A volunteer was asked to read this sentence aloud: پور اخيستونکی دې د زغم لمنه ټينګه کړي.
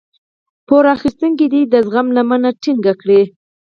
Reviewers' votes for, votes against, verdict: 2, 4, rejected